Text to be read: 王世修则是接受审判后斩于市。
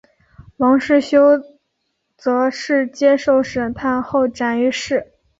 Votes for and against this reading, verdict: 4, 0, accepted